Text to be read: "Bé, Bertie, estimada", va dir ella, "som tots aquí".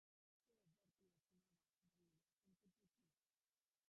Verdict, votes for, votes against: rejected, 0, 2